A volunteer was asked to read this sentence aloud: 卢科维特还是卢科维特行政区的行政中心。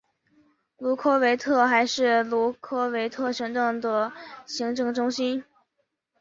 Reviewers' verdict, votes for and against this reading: rejected, 0, 2